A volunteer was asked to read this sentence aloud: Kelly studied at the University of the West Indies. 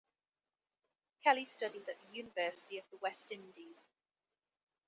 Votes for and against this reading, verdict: 0, 2, rejected